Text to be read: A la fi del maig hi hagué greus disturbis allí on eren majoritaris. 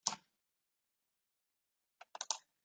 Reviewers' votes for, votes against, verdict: 0, 2, rejected